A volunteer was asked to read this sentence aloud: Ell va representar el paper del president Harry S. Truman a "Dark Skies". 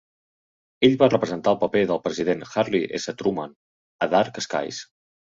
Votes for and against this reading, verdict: 2, 0, accepted